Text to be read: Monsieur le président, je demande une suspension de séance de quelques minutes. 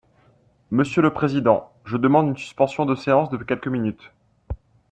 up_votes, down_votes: 2, 0